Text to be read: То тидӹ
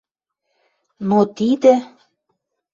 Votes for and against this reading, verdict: 0, 2, rejected